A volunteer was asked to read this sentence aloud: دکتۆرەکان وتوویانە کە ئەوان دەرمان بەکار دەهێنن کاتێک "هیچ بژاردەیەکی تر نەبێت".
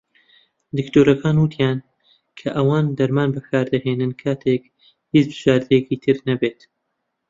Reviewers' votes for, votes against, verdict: 0, 2, rejected